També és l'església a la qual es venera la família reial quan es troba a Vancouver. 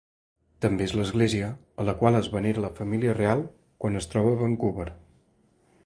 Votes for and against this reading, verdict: 2, 3, rejected